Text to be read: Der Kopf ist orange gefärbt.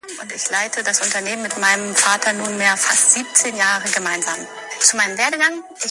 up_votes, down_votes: 0, 2